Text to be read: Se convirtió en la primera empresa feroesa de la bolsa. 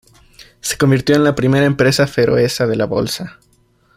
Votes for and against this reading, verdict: 2, 0, accepted